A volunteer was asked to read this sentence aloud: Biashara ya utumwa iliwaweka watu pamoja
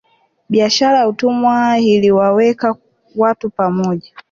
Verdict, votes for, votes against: rejected, 0, 2